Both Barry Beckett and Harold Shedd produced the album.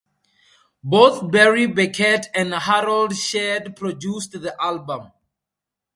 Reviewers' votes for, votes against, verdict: 2, 2, rejected